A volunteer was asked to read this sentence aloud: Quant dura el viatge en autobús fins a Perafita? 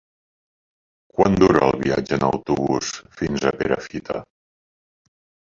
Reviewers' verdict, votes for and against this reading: accepted, 3, 1